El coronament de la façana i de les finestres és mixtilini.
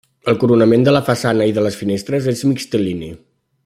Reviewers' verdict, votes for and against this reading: accepted, 2, 0